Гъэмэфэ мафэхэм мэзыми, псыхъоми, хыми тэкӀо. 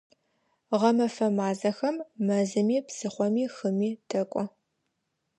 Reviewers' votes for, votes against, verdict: 1, 2, rejected